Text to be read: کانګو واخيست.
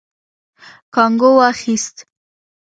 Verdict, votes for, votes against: rejected, 1, 2